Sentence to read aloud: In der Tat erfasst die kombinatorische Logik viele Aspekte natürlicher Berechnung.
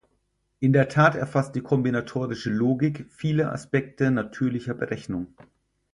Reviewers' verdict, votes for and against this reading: accepted, 4, 0